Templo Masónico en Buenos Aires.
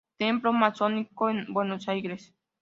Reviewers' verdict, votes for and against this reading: accepted, 2, 0